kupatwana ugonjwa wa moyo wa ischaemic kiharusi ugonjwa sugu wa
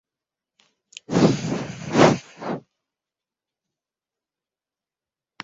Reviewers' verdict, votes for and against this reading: rejected, 0, 2